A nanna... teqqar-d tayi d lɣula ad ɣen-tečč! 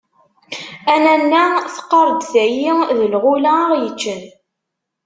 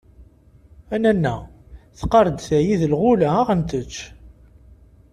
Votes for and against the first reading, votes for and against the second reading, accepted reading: 1, 2, 2, 0, second